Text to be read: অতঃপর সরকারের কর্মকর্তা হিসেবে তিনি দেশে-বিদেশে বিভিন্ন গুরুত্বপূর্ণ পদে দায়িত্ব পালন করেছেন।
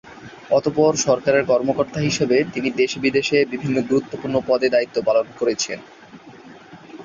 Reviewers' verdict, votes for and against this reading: accepted, 2, 0